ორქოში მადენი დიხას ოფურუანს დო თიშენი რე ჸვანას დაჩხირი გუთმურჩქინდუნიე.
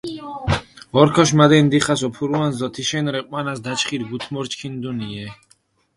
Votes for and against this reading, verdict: 4, 0, accepted